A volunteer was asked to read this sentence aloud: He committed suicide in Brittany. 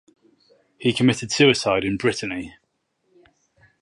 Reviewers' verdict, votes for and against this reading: accepted, 4, 0